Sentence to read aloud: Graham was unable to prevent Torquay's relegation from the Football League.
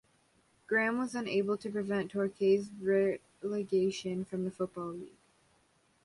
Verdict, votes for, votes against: rejected, 0, 2